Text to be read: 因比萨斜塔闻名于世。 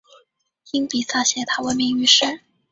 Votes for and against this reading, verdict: 3, 1, accepted